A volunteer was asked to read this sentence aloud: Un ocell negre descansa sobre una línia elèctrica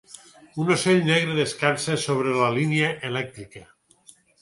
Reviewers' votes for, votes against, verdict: 2, 4, rejected